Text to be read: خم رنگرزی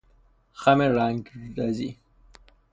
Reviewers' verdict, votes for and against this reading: rejected, 0, 3